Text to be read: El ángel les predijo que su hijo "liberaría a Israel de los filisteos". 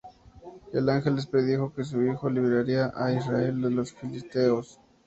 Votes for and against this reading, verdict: 2, 0, accepted